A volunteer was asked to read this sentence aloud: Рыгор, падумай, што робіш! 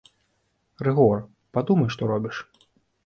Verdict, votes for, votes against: accepted, 2, 0